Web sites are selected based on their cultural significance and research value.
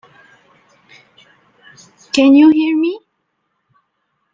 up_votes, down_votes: 0, 2